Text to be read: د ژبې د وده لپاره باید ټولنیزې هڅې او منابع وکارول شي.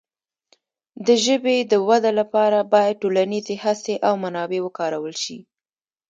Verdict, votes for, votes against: rejected, 0, 2